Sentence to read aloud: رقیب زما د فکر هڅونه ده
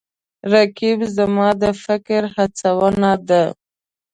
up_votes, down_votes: 2, 0